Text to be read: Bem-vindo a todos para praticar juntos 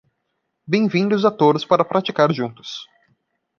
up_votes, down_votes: 0, 2